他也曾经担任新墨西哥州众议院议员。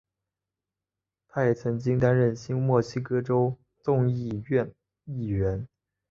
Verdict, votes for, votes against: accepted, 3, 0